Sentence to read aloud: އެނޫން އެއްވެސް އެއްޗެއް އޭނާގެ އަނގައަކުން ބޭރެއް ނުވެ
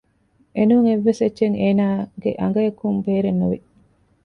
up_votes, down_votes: 0, 2